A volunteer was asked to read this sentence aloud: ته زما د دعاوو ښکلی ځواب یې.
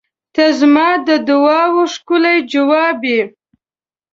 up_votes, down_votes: 2, 0